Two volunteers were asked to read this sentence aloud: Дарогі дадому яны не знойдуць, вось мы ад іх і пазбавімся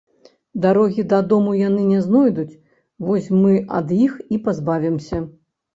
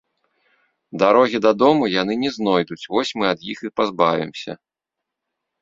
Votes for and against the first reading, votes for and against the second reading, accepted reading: 0, 2, 3, 0, second